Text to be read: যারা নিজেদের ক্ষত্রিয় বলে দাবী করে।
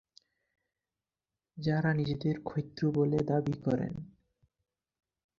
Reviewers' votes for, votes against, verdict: 4, 8, rejected